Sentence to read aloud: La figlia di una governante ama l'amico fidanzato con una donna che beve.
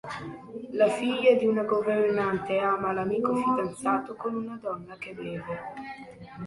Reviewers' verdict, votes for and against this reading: accepted, 3, 1